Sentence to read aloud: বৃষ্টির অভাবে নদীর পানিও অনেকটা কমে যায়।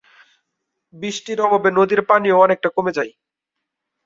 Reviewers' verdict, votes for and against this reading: accepted, 3, 0